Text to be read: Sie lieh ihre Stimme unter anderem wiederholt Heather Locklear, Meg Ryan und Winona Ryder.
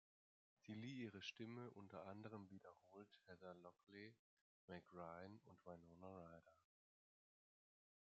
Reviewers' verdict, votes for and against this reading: accepted, 2, 1